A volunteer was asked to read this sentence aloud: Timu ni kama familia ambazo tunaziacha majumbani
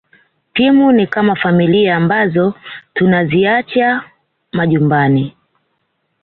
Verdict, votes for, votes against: accepted, 2, 0